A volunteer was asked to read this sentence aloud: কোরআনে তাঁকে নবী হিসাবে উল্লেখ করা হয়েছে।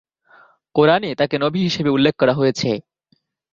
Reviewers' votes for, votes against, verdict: 2, 0, accepted